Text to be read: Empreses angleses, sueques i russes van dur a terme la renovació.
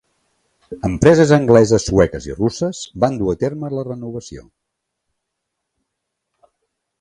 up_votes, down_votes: 2, 0